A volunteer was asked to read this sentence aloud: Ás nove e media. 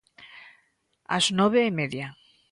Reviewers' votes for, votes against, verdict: 2, 0, accepted